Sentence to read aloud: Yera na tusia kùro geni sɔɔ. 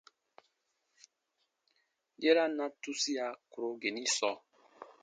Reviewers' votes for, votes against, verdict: 2, 0, accepted